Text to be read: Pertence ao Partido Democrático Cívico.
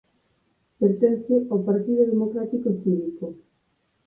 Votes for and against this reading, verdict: 4, 2, accepted